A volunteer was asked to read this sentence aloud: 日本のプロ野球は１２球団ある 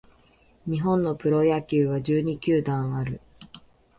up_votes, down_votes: 0, 2